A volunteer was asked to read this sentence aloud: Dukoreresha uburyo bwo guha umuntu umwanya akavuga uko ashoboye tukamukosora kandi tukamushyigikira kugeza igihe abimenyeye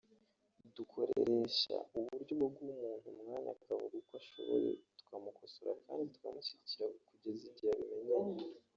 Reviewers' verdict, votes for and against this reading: rejected, 1, 2